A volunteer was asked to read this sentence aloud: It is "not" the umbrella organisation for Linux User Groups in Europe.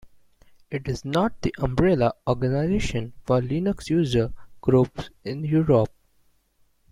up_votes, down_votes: 2, 1